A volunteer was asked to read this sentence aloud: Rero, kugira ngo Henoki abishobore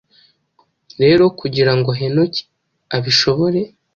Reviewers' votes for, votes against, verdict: 2, 0, accepted